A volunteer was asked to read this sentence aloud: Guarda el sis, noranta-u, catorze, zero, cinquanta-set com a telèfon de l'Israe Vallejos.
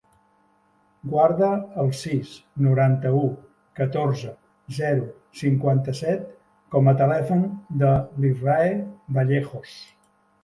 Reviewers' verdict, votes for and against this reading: accepted, 2, 0